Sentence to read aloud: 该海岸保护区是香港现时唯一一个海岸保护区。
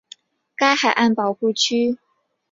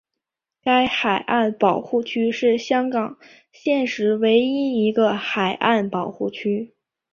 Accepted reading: second